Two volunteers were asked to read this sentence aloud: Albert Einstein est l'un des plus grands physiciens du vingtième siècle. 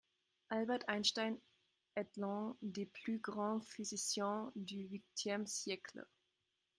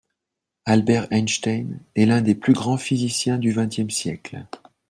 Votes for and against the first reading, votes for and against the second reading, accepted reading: 0, 2, 2, 0, second